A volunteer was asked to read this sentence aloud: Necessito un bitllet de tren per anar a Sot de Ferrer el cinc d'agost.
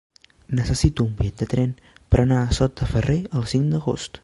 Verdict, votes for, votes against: rejected, 1, 2